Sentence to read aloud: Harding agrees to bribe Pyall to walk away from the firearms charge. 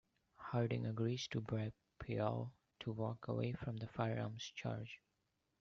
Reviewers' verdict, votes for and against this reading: accepted, 2, 1